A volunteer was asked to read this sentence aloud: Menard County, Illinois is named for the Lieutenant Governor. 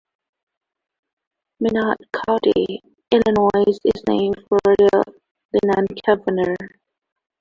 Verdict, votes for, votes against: rejected, 1, 2